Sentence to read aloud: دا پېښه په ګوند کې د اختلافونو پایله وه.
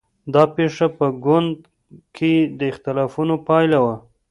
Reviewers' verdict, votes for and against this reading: accepted, 2, 0